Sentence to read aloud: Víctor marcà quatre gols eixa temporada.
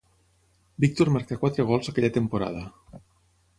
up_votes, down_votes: 3, 6